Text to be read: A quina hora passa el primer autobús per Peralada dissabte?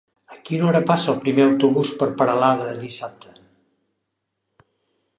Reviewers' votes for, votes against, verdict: 2, 0, accepted